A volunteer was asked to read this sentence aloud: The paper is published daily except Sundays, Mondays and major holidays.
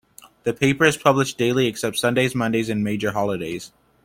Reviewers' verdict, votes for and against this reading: accepted, 2, 0